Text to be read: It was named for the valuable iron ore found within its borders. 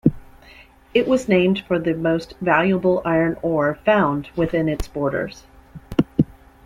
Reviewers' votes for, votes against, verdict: 0, 2, rejected